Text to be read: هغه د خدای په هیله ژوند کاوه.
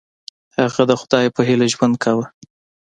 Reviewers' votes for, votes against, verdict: 2, 0, accepted